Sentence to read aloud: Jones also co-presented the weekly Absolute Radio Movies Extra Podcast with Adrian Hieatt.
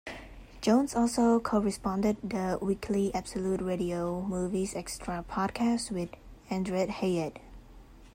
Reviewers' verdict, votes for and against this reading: rejected, 0, 2